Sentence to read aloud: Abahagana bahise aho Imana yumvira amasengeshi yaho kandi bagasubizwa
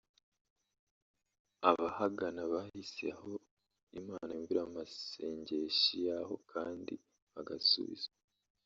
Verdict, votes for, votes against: rejected, 0, 2